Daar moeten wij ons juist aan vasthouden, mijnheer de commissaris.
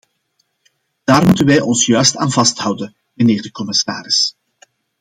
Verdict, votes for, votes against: accepted, 2, 0